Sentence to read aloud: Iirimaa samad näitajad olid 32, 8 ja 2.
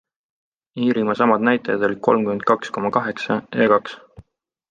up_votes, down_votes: 0, 2